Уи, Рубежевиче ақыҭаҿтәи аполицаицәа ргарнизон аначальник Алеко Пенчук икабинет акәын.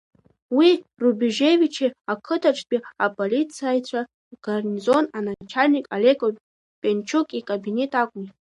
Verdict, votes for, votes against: rejected, 0, 2